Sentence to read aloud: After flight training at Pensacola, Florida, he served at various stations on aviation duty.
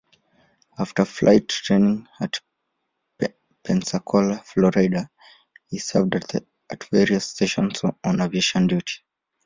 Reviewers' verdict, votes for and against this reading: rejected, 0, 2